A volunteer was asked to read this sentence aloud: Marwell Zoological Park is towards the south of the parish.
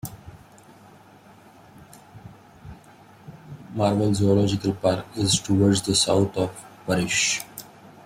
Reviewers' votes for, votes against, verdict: 1, 2, rejected